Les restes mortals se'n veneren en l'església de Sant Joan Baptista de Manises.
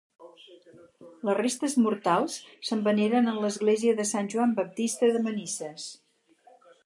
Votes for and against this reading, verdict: 6, 2, accepted